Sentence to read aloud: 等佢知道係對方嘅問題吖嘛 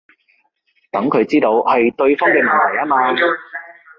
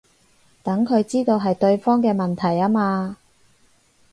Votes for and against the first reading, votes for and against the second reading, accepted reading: 1, 2, 6, 0, second